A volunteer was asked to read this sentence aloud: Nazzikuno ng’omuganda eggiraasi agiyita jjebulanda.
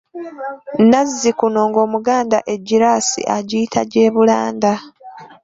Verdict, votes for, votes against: rejected, 1, 2